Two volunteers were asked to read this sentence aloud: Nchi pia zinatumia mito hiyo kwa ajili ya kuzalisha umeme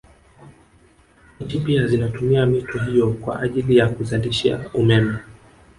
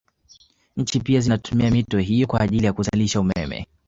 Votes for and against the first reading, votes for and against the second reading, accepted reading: 2, 0, 1, 2, first